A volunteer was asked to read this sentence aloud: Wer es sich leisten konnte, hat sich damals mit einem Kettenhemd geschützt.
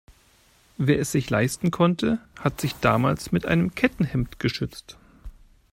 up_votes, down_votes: 2, 0